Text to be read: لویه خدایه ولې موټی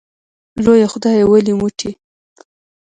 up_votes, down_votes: 1, 2